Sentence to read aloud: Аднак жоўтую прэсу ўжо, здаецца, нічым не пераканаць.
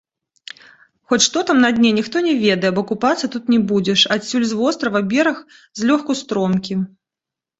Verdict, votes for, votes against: rejected, 0, 2